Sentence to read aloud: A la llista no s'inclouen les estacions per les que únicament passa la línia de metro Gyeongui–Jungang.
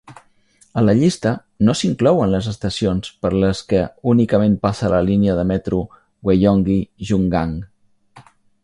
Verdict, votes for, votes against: rejected, 1, 2